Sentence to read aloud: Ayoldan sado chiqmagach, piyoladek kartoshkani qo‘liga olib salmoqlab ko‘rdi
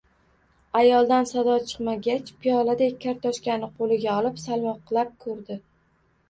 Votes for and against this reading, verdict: 1, 2, rejected